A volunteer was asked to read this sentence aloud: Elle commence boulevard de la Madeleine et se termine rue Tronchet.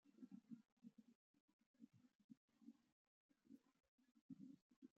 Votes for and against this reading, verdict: 0, 2, rejected